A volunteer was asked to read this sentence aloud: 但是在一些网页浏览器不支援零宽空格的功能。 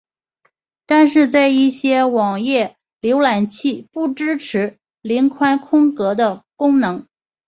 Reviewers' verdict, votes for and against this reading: accepted, 3, 0